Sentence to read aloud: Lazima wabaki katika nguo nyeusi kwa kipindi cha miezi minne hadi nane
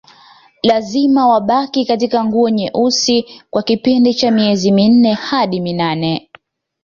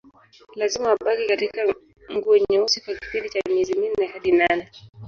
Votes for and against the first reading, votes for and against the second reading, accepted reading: 2, 0, 1, 2, first